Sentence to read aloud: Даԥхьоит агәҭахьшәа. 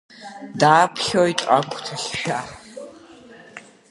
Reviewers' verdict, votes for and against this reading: rejected, 1, 3